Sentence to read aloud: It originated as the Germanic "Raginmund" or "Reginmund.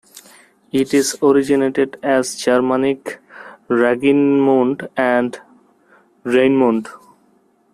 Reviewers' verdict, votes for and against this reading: rejected, 0, 2